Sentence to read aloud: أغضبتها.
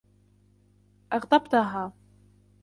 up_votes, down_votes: 1, 2